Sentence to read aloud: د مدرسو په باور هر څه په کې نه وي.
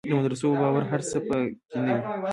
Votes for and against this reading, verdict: 1, 2, rejected